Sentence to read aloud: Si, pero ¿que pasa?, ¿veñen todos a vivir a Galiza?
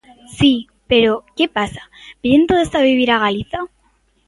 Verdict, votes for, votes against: accepted, 2, 0